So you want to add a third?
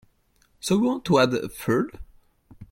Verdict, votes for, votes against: accepted, 2, 1